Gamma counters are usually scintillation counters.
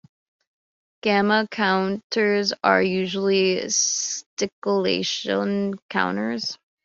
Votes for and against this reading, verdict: 1, 3, rejected